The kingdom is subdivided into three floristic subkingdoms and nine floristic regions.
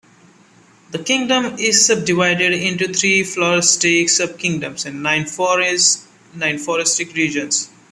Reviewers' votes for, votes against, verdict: 0, 3, rejected